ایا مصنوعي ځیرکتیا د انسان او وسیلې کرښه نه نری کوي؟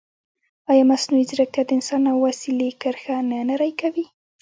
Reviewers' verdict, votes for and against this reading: rejected, 1, 2